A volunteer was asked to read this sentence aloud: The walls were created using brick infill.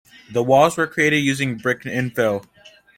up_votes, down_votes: 2, 0